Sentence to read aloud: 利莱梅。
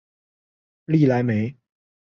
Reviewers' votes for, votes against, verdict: 3, 0, accepted